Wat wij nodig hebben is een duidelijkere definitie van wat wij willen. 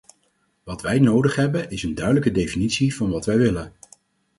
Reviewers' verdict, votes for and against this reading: rejected, 2, 4